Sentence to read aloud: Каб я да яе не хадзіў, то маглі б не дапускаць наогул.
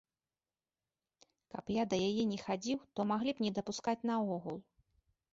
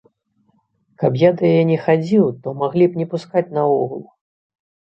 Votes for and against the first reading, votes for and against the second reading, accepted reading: 2, 0, 0, 3, first